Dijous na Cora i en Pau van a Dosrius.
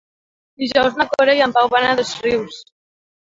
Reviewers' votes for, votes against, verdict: 2, 0, accepted